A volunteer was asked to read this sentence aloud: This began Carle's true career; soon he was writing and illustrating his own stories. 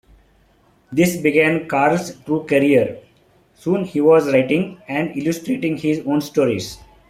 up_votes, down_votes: 2, 0